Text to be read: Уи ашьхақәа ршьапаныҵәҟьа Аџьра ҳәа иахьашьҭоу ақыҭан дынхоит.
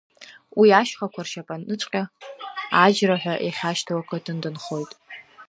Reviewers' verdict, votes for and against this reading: rejected, 0, 2